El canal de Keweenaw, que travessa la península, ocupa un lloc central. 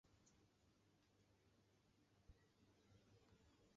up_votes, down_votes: 0, 2